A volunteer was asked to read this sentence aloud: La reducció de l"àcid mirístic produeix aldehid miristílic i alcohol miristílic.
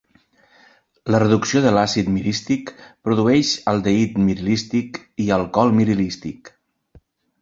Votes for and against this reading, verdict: 1, 3, rejected